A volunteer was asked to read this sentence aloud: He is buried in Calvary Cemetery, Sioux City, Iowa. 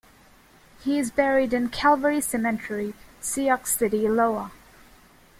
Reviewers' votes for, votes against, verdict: 0, 2, rejected